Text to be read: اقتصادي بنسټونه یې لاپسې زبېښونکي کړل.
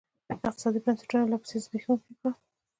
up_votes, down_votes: 2, 1